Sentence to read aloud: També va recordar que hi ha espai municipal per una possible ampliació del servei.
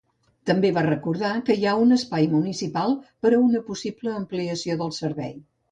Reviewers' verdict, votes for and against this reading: rejected, 0, 2